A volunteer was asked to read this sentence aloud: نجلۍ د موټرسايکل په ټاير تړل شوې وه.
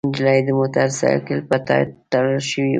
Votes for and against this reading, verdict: 1, 2, rejected